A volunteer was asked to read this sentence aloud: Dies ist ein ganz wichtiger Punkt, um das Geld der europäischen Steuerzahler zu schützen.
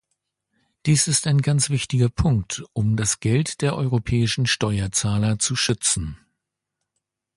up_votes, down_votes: 2, 0